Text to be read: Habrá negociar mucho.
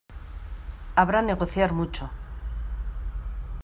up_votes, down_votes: 2, 0